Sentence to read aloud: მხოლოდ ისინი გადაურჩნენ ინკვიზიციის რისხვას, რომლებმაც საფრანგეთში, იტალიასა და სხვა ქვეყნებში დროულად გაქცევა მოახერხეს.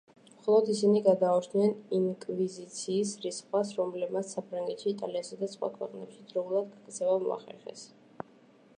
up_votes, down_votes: 1, 2